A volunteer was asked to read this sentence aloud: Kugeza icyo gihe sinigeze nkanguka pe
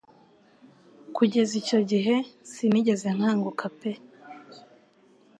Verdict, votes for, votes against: accepted, 2, 0